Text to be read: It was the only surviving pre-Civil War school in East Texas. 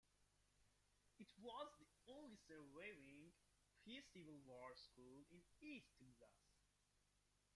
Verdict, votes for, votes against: rejected, 0, 2